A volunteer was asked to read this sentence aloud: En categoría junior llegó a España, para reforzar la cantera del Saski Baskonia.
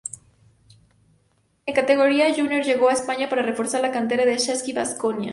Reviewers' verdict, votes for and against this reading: accepted, 2, 0